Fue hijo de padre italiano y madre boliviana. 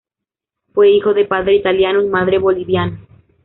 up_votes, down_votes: 2, 3